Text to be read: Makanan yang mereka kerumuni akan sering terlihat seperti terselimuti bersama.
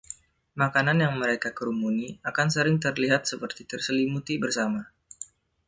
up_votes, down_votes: 2, 0